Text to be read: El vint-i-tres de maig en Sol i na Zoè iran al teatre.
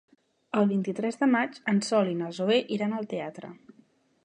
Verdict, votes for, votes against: accepted, 3, 0